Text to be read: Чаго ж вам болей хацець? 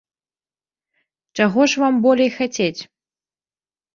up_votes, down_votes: 2, 0